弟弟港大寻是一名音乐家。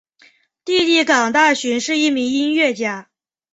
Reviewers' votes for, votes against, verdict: 3, 0, accepted